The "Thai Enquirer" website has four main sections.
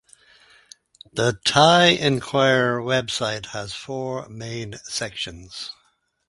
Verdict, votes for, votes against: accepted, 2, 0